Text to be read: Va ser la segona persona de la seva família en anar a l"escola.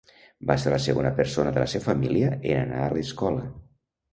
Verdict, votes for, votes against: rejected, 0, 2